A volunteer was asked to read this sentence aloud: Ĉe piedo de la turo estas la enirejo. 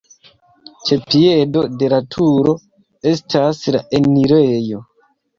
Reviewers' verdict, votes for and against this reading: rejected, 0, 2